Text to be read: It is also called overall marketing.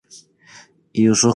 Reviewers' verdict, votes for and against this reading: rejected, 0, 2